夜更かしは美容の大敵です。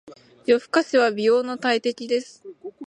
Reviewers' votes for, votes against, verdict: 4, 1, accepted